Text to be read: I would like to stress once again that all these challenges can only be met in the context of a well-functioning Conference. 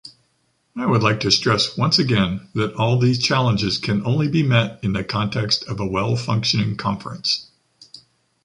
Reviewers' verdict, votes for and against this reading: accepted, 2, 0